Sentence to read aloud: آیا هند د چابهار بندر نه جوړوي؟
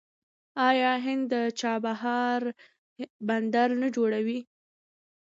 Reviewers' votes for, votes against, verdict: 2, 0, accepted